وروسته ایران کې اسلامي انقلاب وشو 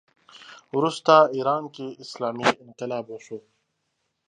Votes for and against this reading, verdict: 2, 0, accepted